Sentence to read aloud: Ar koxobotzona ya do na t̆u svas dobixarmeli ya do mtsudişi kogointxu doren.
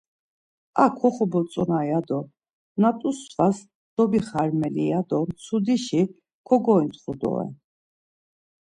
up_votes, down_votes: 2, 0